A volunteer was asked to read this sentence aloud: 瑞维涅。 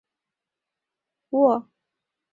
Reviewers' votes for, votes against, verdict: 1, 2, rejected